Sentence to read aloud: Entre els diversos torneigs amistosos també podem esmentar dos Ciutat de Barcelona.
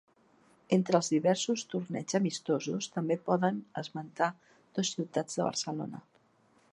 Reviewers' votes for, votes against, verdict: 0, 2, rejected